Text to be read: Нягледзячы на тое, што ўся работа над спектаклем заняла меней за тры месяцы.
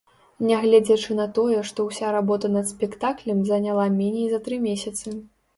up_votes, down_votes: 2, 0